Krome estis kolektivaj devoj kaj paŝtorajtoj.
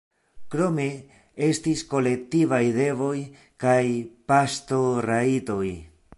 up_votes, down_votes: 2, 0